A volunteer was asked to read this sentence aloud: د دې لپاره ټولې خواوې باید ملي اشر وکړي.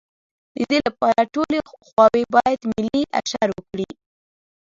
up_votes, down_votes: 1, 2